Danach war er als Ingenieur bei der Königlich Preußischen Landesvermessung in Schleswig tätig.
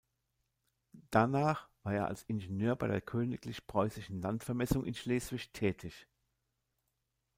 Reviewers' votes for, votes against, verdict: 1, 2, rejected